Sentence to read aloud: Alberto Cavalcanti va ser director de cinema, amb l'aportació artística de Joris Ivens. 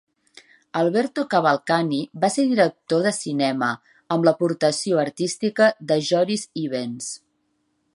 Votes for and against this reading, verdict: 1, 2, rejected